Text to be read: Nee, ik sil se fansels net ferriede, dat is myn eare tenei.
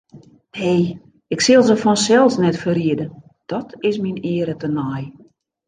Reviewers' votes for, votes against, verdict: 3, 0, accepted